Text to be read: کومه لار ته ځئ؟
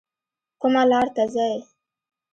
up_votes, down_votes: 1, 2